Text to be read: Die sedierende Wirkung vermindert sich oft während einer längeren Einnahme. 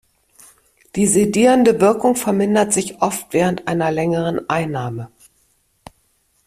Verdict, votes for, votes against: accepted, 2, 0